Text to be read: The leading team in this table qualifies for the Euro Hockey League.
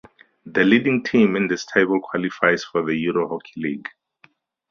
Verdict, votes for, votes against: accepted, 4, 0